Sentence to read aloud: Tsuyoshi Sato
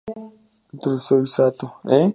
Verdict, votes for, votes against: rejected, 0, 2